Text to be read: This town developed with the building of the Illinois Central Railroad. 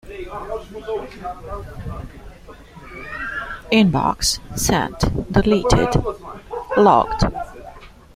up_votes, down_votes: 0, 2